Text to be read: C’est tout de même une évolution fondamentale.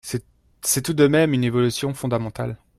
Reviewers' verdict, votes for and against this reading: rejected, 0, 2